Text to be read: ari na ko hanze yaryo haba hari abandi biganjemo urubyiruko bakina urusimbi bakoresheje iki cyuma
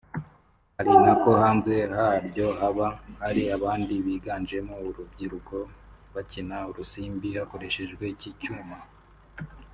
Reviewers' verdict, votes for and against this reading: rejected, 0, 2